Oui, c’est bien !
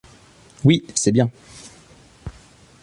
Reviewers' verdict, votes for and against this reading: accepted, 3, 0